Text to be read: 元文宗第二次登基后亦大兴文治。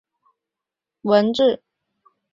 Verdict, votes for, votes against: rejected, 0, 2